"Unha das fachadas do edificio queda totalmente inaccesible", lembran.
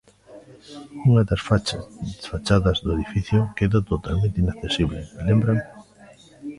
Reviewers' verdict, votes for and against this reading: rejected, 0, 2